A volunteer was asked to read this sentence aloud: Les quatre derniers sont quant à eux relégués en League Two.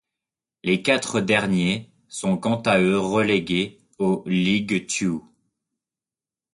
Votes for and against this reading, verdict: 0, 2, rejected